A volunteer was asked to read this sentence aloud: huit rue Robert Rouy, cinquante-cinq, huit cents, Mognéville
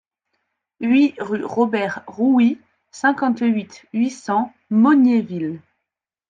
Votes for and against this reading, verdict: 1, 2, rejected